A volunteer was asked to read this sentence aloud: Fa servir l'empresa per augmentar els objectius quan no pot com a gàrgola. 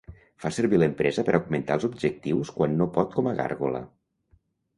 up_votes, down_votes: 2, 0